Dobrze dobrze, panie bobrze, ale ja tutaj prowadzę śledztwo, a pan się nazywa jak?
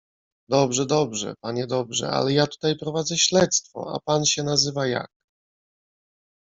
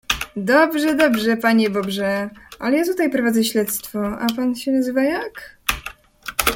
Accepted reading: second